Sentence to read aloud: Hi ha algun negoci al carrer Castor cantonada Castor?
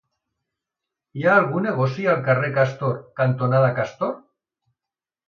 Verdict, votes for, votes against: accepted, 2, 0